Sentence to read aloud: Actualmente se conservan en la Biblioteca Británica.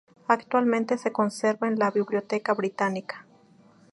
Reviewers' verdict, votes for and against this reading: rejected, 0, 2